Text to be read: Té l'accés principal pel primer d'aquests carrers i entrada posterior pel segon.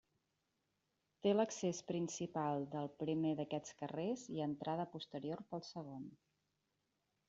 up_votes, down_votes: 1, 2